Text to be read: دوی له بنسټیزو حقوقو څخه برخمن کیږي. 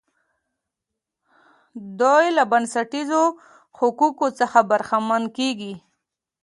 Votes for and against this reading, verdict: 2, 0, accepted